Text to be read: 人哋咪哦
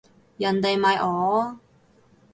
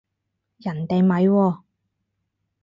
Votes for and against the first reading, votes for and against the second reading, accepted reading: 2, 0, 0, 2, first